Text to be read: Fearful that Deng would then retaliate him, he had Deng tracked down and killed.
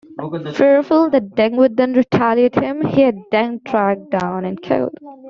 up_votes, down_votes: 1, 2